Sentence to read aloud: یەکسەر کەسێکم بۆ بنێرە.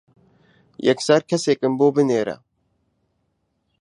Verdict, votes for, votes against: accepted, 2, 0